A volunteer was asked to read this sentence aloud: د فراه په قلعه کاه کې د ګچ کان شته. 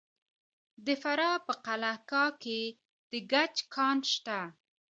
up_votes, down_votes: 2, 1